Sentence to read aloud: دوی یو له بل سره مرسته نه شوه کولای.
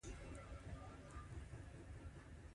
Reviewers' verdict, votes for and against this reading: accepted, 2, 1